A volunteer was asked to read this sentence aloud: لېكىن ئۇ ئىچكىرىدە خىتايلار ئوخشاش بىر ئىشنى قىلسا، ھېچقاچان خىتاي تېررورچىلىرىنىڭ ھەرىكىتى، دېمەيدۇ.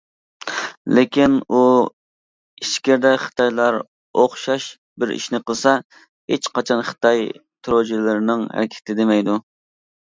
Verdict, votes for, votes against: accepted, 2, 0